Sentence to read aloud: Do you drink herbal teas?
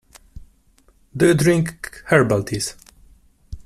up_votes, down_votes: 1, 2